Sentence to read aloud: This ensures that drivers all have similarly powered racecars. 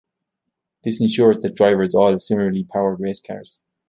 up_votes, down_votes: 2, 0